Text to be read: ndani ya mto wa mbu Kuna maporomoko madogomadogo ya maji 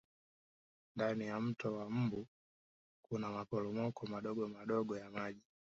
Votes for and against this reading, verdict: 2, 0, accepted